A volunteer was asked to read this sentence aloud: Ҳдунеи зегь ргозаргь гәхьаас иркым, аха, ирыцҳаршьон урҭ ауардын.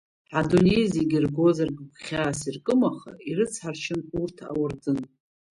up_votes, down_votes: 1, 2